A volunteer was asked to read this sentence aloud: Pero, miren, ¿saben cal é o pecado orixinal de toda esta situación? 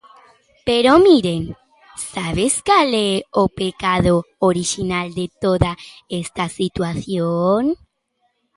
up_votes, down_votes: 0, 2